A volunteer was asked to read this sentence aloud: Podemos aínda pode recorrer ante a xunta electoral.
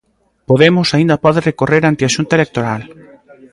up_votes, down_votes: 2, 0